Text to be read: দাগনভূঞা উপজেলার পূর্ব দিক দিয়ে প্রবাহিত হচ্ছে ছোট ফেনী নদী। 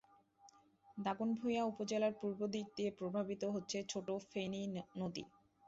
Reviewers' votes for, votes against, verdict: 0, 2, rejected